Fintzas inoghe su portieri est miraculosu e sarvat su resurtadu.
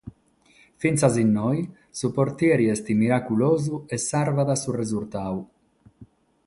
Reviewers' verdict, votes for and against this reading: rejected, 0, 3